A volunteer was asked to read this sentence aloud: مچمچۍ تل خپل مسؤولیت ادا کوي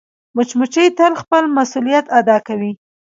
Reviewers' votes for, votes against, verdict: 1, 2, rejected